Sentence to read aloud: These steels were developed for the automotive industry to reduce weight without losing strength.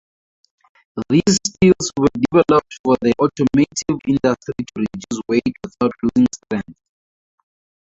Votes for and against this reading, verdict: 0, 2, rejected